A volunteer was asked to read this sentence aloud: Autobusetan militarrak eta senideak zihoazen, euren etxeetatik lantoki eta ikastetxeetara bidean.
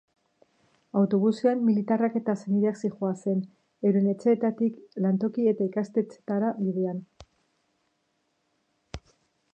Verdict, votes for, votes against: rejected, 1, 2